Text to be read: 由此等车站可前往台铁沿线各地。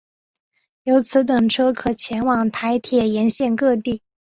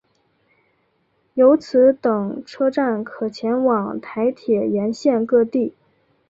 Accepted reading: second